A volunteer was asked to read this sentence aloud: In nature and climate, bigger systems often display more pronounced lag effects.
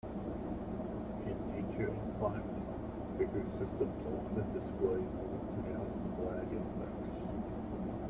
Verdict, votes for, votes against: rejected, 1, 2